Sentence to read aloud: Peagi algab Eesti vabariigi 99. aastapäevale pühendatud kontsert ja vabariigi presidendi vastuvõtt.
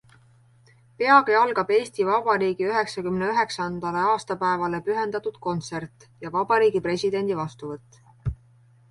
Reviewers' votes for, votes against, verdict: 0, 2, rejected